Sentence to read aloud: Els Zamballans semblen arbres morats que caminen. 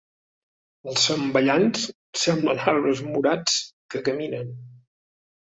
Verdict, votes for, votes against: accepted, 2, 0